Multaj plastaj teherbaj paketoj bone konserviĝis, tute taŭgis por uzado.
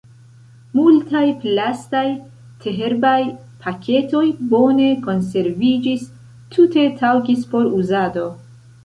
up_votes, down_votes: 2, 0